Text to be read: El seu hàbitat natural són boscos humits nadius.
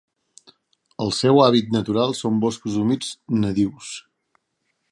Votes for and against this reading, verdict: 0, 2, rejected